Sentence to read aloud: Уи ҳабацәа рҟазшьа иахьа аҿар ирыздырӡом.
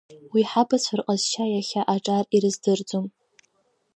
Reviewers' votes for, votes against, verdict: 2, 0, accepted